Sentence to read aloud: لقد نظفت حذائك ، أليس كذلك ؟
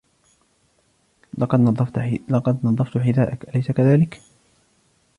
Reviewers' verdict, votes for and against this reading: rejected, 1, 2